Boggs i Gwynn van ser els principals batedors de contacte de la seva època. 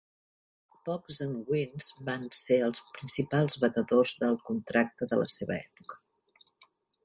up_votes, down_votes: 1, 2